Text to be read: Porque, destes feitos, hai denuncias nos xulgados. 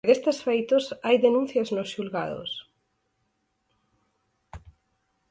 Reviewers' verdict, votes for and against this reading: rejected, 2, 4